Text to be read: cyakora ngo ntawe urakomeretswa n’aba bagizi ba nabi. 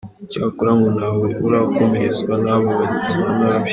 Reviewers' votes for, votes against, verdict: 1, 2, rejected